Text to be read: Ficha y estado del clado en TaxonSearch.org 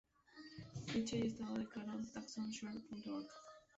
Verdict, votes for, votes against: rejected, 0, 2